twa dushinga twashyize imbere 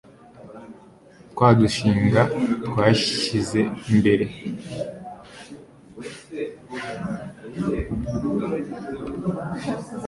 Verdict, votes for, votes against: rejected, 1, 2